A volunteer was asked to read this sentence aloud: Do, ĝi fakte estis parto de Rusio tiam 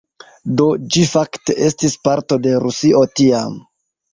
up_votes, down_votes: 1, 2